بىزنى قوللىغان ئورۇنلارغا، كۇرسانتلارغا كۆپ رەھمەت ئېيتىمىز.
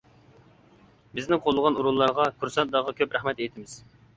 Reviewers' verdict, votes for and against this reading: accepted, 2, 1